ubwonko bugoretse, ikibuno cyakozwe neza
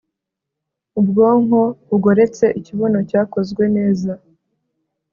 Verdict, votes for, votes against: accepted, 2, 0